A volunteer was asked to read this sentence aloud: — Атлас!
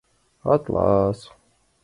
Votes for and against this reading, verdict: 2, 0, accepted